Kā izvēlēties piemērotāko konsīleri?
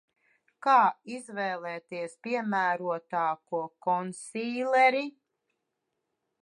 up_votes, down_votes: 2, 0